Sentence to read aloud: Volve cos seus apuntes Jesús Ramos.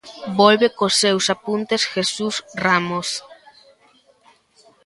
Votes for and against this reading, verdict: 2, 0, accepted